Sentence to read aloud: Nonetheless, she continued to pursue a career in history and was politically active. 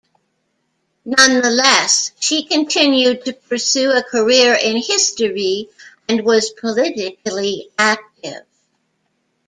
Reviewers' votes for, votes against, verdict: 2, 0, accepted